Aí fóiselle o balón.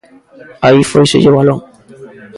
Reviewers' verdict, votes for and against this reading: accepted, 2, 1